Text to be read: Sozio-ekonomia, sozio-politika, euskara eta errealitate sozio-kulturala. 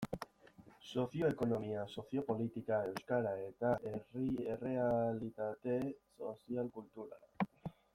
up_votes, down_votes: 0, 2